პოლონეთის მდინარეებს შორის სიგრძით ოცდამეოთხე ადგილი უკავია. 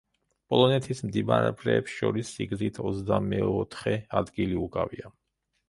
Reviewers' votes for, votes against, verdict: 0, 2, rejected